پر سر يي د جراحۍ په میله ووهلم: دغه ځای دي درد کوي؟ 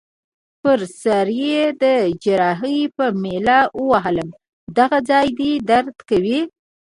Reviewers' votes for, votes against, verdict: 1, 2, rejected